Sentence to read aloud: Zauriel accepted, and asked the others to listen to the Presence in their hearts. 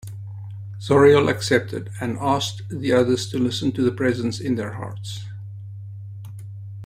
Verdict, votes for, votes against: accepted, 2, 0